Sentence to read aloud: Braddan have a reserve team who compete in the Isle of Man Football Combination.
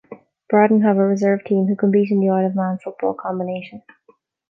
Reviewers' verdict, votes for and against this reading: rejected, 0, 3